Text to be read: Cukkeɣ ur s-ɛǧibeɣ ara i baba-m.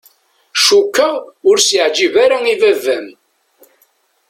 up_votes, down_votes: 0, 2